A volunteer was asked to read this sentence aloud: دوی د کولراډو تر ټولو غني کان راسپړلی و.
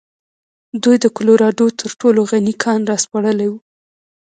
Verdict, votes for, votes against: rejected, 1, 2